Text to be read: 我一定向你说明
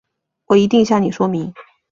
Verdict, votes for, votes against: accepted, 5, 1